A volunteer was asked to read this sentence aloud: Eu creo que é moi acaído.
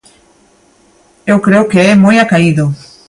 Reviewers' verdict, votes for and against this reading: accepted, 2, 0